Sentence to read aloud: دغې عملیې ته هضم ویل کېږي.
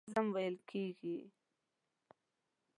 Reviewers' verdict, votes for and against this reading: rejected, 1, 3